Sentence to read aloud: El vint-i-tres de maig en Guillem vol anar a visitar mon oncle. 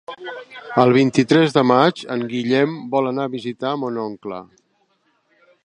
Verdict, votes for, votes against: accepted, 5, 0